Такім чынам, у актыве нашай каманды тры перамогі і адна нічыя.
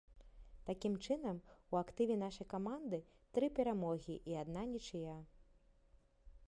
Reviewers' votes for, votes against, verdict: 1, 2, rejected